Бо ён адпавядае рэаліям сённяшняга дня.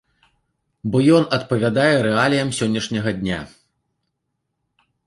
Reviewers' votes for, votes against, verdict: 2, 0, accepted